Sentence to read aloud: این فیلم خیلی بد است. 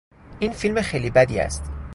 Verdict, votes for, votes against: rejected, 0, 2